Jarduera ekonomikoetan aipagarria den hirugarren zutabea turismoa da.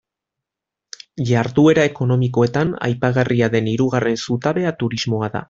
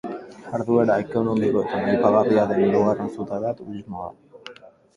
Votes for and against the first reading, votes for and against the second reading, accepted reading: 2, 0, 2, 2, first